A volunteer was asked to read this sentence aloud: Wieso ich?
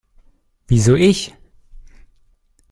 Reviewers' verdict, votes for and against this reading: accepted, 2, 0